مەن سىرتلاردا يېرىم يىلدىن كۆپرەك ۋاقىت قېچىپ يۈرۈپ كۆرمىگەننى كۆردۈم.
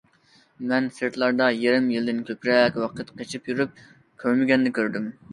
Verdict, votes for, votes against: accepted, 2, 0